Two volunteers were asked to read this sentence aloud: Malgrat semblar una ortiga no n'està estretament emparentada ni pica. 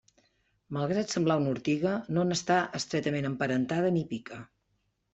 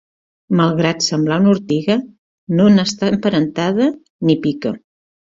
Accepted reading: first